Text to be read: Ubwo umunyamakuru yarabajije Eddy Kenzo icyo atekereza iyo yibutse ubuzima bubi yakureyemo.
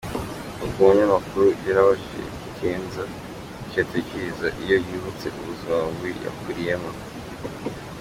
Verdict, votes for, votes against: accepted, 2, 0